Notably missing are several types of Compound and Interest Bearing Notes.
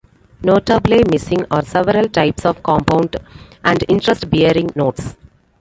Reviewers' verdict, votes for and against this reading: rejected, 1, 2